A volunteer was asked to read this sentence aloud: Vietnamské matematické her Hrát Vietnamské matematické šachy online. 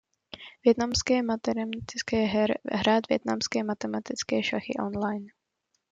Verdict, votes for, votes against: rejected, 1, 2